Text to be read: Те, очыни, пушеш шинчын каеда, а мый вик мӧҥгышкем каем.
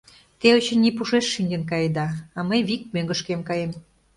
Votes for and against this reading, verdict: 2, 0, accepted